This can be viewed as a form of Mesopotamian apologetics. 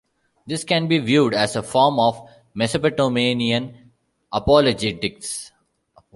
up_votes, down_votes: 1, 2